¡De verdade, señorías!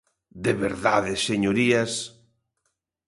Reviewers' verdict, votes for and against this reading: accepted, 2, 0